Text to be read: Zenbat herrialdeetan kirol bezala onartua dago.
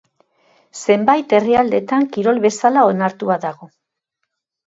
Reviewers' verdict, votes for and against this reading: rejected, 0, 2